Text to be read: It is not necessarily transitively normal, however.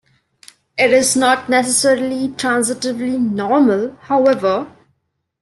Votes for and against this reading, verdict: 2, 0, accepted